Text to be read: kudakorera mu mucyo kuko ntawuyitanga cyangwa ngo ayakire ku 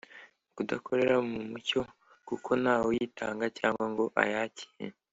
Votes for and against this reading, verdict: 2, 0, accepted